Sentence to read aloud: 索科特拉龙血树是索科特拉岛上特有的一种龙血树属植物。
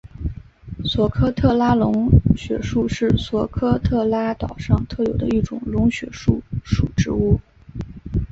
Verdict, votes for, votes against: accepted, 5, 0